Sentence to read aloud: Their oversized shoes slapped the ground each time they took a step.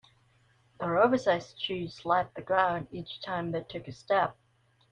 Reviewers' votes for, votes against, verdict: 2, 0, accepted